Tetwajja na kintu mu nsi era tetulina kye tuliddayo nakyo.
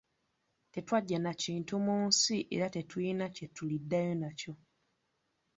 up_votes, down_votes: 2, 0